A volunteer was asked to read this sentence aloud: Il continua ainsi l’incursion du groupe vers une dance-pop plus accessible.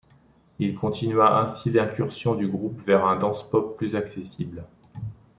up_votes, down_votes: 0, 2